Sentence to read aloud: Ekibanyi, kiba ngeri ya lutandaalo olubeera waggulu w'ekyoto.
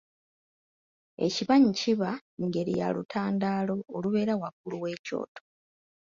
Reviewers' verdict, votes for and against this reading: accepted, 2, 0